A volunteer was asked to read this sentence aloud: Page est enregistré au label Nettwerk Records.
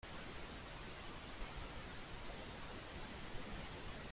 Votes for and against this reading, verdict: 0, 2, rejected